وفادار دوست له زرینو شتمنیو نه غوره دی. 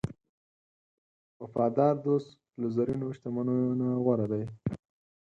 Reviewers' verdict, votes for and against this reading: accepted, 4, 2